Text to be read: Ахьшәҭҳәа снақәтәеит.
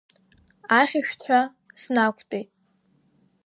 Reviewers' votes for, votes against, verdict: 1, 2, rejected